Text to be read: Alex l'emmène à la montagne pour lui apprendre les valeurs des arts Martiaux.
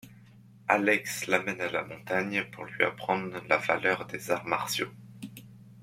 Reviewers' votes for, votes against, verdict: 1, 2, rejected